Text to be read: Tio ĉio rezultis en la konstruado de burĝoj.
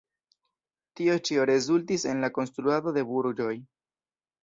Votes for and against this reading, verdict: 1, 2, rejected